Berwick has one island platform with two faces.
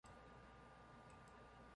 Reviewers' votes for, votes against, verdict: 0, 2, rejected